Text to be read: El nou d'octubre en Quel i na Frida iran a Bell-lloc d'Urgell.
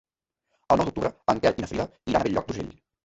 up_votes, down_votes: 1, 3